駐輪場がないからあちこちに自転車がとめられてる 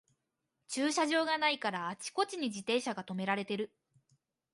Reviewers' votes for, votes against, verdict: 1, 2, rejected